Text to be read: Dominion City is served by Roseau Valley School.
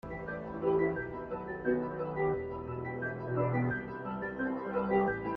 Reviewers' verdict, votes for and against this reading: rejected, 0, 2